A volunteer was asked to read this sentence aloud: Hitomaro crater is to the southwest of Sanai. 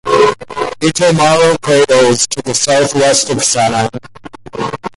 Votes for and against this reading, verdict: 2, 0, accepted